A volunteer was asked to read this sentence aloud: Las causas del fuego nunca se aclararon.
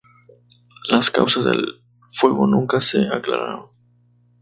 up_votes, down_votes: 2, 2